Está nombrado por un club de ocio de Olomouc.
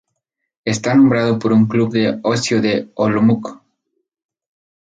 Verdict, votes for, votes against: accepted, 2, 0